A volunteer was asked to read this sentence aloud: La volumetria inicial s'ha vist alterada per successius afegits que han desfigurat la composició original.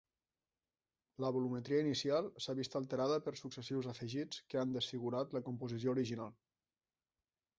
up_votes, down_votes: 3, 0